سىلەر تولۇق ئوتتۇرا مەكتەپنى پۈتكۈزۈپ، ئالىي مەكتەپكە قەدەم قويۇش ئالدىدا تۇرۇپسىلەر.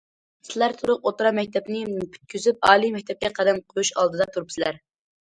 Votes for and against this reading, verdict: 2, 0, accepted